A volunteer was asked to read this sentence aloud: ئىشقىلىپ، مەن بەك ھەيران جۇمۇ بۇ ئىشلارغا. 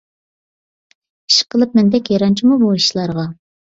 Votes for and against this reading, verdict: 1, 2, rejected